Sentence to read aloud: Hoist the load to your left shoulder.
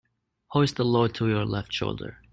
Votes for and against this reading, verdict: 2, 0, accepted